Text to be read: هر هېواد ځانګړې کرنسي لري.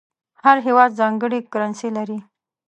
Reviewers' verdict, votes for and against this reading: accepted, 2, 0